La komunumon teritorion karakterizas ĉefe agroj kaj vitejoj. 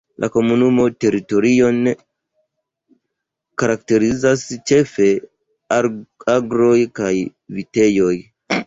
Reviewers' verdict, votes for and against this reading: rejected, 0, 2